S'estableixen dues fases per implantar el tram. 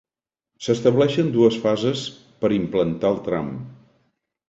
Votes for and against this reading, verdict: 2, 0, accepted